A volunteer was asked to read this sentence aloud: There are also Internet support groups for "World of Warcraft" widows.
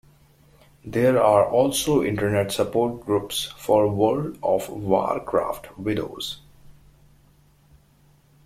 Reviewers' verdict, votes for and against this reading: accepted, 3, 2